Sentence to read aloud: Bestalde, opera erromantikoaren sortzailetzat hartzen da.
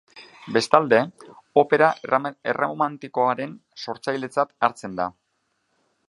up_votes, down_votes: 1, 2